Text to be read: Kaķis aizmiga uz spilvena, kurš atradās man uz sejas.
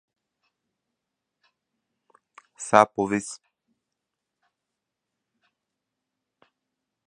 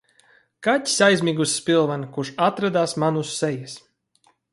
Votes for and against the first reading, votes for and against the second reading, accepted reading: 0, 2, 4, 0, second